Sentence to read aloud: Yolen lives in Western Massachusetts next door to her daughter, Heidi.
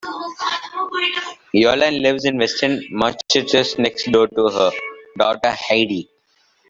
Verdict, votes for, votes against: rejected, 1, 3